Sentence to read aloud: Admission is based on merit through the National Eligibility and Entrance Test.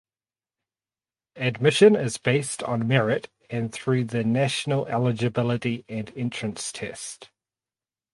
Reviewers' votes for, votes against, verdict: 0, 2, rejected